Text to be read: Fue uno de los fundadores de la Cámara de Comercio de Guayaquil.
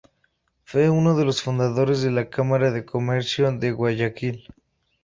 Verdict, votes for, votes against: accepted, 2, 0